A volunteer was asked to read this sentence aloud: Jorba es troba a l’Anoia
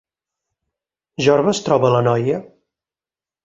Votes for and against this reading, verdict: 0, 4, rejected